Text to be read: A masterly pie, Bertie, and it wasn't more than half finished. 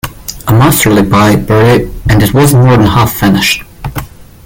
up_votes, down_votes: 0, 2